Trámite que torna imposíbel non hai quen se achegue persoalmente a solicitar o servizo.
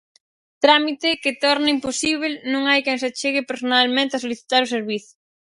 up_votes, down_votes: 0, 4